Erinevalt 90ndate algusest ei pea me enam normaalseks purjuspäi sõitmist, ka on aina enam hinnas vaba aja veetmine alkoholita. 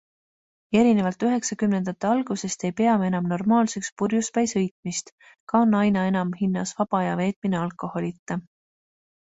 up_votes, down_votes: 0, 2